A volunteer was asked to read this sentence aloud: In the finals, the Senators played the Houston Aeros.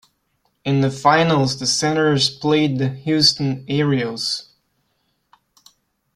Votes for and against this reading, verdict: 0, 2, rejected